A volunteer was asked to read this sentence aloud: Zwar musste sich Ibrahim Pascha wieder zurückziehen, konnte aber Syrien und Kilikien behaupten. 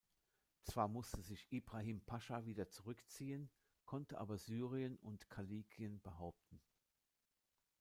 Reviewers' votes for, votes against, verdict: 0, 2, rejected